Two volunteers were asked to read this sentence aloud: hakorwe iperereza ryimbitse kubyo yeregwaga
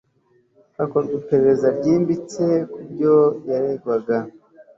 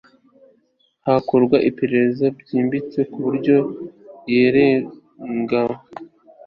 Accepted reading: first